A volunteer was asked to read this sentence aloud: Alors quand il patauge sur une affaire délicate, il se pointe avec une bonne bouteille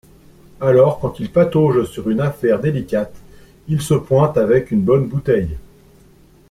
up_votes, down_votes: 2, 0